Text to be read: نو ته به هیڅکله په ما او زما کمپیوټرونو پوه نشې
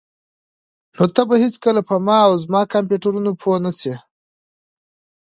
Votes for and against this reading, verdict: 2, 1, accepted